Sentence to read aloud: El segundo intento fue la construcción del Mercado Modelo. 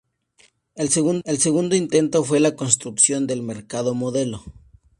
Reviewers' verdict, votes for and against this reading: accepted, 2, 0